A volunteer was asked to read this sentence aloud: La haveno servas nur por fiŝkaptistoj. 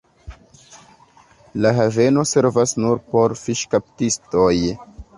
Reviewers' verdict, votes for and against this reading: rejected, 0, 2